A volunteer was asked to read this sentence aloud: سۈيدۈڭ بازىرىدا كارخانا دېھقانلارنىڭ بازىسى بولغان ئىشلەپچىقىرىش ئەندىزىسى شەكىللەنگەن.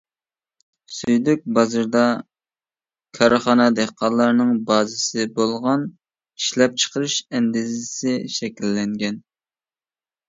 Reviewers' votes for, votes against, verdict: 0, 2, rejected